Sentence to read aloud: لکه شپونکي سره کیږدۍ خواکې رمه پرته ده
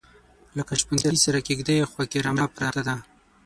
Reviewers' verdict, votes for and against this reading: rejected, 3, 6